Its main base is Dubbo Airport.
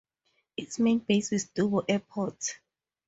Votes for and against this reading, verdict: 4, 0, accepted